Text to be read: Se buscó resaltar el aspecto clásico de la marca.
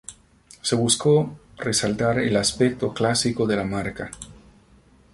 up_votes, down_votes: 4, 0